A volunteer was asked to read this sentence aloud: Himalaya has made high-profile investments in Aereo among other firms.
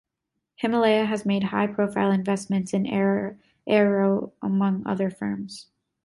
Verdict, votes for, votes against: rejected, 0, 2